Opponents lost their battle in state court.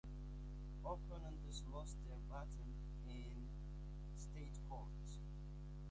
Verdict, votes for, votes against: rejected, 0, 2